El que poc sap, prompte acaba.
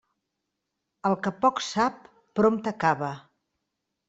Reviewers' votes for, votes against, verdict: 2, 0, accepted